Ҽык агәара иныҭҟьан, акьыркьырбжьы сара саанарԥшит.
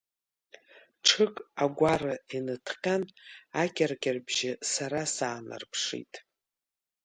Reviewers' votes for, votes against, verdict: 2, 0, accepted